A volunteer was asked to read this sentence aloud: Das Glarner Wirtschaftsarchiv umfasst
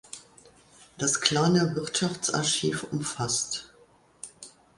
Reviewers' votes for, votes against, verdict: 0, 2, rejected